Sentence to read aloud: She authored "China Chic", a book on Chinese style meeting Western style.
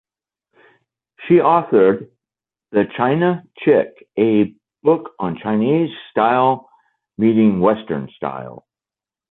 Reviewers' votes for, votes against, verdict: 0, 2, rejected